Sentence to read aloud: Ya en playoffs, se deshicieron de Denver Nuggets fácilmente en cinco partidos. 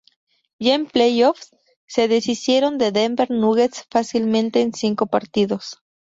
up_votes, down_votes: 2, 0